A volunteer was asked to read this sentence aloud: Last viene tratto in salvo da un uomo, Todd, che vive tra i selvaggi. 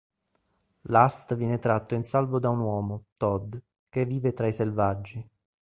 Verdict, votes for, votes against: accepted, 3, 0